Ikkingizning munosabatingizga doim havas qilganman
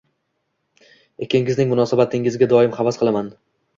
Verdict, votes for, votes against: accepted, 2, 0